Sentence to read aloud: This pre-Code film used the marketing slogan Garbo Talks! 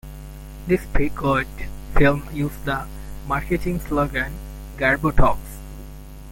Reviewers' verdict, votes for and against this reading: rejected, 1, 2